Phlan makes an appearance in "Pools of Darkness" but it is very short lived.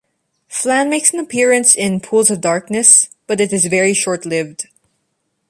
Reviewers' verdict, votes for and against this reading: accepted, 2, 0